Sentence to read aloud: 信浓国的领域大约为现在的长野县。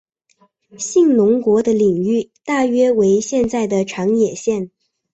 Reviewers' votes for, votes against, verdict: 6, 2, accepted